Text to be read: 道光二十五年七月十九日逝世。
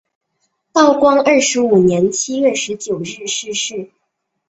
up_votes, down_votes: 2, 1